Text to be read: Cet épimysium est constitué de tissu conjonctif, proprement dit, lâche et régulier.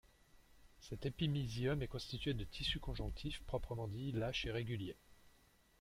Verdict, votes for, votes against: accepted, 2, 1